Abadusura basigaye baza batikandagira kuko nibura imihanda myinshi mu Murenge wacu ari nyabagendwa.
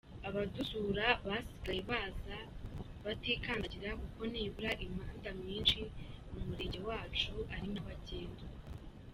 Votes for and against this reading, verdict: 2, 0, accepted